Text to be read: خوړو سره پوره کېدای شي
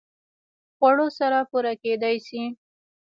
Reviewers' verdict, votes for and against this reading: rejected, 1, 2